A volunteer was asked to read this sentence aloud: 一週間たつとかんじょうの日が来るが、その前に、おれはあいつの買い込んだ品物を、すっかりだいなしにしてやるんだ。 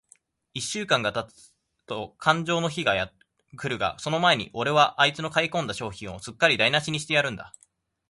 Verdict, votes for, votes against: rejected, 0, 2